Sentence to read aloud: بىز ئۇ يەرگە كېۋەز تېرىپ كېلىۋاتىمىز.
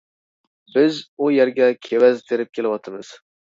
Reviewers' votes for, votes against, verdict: 2, 0, accepted